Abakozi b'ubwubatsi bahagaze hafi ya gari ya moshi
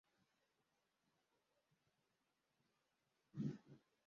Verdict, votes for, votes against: rejected, 0, 2